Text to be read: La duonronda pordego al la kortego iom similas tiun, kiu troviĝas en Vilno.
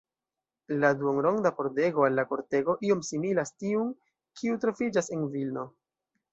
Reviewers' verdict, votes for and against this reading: rejected, 0, 2